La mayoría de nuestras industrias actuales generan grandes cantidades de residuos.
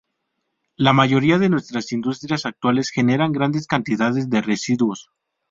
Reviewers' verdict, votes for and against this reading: rejected, 0, 2